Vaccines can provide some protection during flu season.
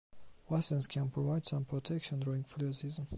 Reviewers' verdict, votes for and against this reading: rejected, 0, 2